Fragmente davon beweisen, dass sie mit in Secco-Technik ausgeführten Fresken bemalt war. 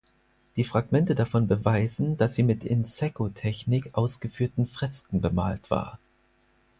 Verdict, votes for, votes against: rejected, 0, 4